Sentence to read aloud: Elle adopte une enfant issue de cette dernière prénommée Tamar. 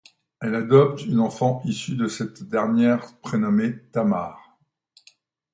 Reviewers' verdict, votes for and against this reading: accepted, 2, 0